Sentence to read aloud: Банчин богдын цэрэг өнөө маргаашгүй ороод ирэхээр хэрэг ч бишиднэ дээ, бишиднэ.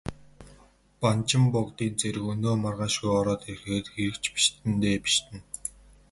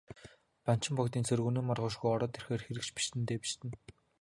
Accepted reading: first